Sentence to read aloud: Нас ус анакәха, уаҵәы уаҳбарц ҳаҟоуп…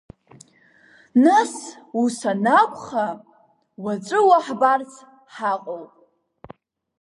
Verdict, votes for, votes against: rejected, 1, 2